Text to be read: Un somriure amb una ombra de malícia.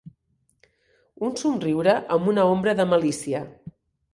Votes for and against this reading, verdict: 3, 0, accepted